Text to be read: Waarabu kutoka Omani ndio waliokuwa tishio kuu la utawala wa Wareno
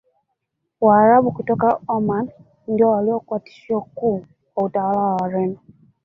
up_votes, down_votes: 1, 2